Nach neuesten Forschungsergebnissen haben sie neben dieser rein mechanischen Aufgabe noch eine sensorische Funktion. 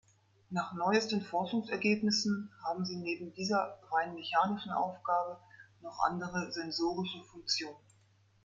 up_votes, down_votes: 2, 3